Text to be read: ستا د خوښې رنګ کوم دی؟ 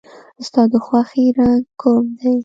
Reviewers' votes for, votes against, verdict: 1, 2, rejected